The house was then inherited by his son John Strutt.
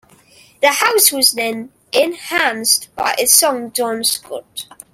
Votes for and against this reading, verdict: 1, 2, rejected